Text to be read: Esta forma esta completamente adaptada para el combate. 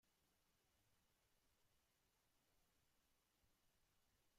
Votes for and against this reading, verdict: 0, 2, rejected